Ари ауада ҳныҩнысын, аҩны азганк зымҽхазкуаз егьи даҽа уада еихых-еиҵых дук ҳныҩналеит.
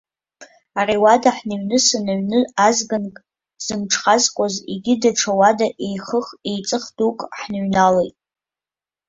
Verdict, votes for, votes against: accepted, 2, 0